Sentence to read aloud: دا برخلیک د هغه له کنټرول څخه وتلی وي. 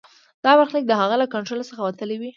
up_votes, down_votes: 2, 0